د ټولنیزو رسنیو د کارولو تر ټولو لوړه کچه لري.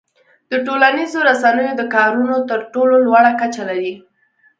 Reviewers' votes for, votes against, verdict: 2, 0, accepted